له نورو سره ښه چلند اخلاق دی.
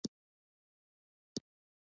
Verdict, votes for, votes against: rejected, 0, 2